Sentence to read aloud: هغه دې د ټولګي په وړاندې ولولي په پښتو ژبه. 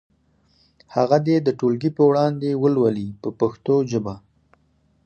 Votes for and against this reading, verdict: 2, 4, rejected